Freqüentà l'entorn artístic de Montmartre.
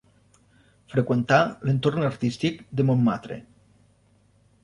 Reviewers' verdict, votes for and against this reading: rejected, 1, 2